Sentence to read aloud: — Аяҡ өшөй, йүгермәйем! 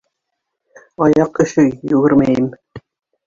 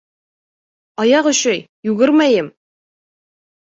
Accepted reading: second